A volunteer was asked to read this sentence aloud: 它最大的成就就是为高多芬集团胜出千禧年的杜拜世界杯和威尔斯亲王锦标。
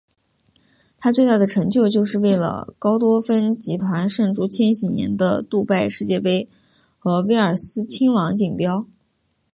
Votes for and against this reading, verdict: 1, 2, rejected